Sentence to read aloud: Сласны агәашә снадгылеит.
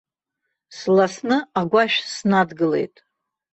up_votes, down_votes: 2, 0